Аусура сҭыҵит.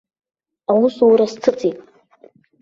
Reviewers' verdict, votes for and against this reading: accepted, 2, 1